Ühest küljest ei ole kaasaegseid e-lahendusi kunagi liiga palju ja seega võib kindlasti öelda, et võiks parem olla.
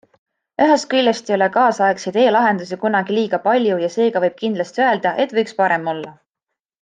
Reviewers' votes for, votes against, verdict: 2, 0, accepted